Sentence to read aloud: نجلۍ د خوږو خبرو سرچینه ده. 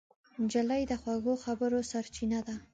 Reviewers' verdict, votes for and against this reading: accepted, 2, 1